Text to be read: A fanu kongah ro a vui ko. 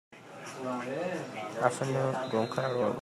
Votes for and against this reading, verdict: 0, 2, rejected